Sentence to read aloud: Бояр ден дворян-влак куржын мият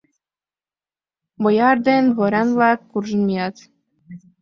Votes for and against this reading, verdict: 2, 1, accepted